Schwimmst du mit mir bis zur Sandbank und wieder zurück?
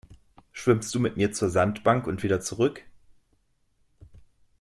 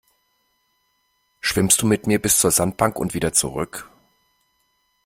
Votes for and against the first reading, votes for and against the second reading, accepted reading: 1, 2, 2, 0, second